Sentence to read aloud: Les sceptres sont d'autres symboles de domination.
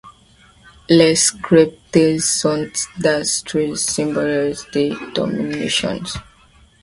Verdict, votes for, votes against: rejected, 0, 2